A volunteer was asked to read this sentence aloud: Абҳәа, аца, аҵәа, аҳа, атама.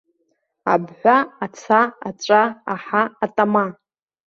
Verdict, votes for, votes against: rejected, 0, 2